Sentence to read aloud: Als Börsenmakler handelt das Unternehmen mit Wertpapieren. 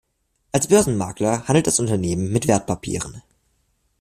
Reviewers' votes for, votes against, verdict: 2, 0, accepted